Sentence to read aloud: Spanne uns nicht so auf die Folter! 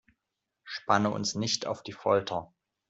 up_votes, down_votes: 0, 2